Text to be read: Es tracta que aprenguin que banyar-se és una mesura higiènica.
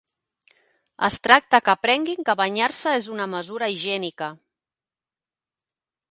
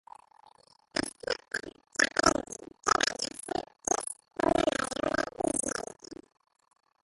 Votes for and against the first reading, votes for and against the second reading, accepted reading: 2, 0, 0, 2, first